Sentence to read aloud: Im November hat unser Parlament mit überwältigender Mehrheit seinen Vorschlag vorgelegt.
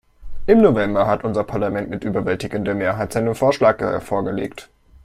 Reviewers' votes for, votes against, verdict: 1, 2, rejected